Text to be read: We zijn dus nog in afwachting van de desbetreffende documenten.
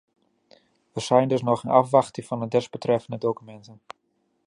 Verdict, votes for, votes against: rejected, 1, 2